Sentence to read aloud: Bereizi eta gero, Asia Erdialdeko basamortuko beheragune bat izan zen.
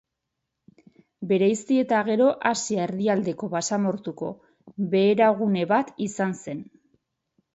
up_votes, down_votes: 2, 2